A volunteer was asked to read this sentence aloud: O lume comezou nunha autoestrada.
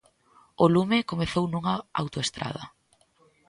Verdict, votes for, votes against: accepted, 2, 0